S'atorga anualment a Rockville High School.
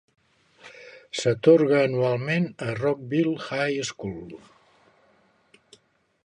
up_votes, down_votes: 3, 0